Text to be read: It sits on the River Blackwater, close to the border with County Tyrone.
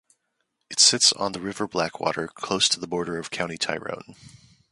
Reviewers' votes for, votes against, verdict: 2, 0, accepted